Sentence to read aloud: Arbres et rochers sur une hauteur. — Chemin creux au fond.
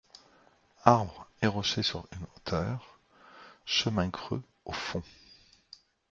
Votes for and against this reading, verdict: 0, 2, rejected